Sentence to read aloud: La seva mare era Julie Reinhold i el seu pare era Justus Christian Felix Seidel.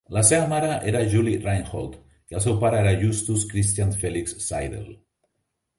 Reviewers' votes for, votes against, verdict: 2, 0, accepted